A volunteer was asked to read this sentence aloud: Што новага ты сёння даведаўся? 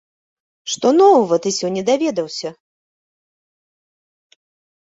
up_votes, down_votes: 2, 1